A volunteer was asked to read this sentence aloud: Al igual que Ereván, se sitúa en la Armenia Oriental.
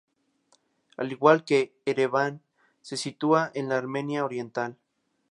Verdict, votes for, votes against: accepted, 4, 0